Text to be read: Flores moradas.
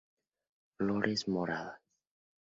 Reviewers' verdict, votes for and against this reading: accepted, 2, 0